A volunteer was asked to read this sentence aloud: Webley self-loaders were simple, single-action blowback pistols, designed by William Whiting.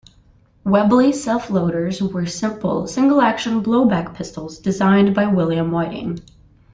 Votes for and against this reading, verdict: 0, 2, rejected